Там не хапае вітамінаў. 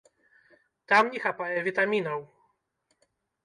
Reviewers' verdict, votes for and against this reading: accepted, 2, 0